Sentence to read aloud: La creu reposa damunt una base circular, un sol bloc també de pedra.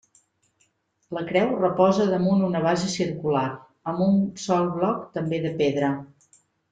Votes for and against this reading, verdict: 1, 2, rejected